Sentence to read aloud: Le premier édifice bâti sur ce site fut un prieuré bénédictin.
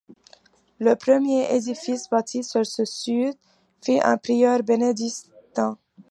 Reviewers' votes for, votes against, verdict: 0, 2, rejected